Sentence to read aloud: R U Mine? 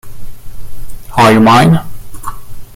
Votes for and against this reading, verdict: 2, 1, accepted